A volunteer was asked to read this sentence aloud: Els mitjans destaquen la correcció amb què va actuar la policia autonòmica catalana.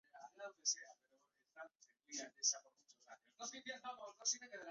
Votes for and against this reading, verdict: 1, 2, rejected